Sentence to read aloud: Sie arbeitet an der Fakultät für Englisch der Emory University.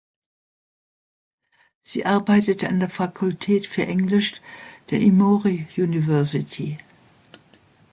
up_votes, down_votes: 0, 2